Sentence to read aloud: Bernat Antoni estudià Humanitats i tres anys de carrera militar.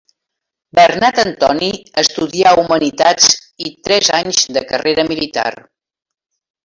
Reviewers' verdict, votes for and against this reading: rejected, 2, 3